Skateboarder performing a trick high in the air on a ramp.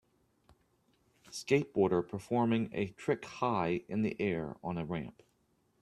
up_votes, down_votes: 3, 0